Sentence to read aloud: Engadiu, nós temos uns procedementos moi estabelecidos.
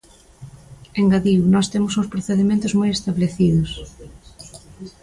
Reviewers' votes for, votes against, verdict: 1, 2, rejected